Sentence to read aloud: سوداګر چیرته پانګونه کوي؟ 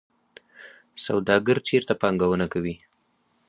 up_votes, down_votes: 4, 0